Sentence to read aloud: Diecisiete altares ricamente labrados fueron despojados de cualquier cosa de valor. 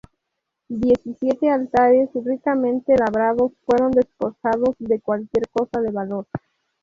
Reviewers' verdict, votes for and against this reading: rejected, 0, 4